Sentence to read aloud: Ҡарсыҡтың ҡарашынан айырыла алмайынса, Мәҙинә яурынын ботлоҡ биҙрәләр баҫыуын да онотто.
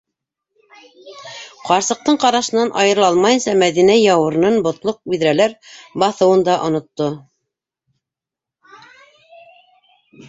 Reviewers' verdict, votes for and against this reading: rejected, 0, 2